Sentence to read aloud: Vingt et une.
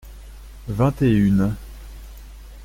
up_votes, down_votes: 2, 0